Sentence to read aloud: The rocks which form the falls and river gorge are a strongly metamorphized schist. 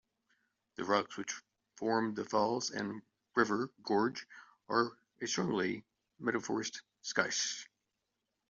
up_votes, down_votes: 1, 2